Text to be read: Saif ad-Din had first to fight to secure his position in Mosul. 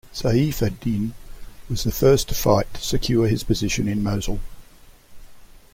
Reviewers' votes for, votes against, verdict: 0, 2, rejected